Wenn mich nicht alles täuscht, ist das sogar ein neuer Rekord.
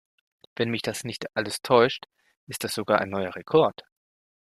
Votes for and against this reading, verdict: 0, 2, rejected